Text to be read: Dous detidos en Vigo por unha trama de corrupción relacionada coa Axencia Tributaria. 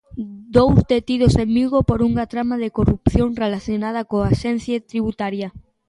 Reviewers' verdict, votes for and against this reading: accepted, 2, 1